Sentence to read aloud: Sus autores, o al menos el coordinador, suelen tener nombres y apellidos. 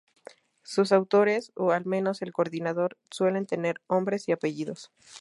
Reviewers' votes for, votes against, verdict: 0, 2, rejected